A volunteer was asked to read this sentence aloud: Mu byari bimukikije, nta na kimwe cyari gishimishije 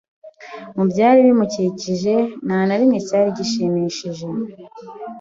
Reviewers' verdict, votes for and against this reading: rejected, 2, 3